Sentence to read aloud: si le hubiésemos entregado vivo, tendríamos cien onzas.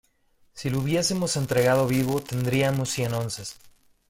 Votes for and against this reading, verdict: 2, 1, accepted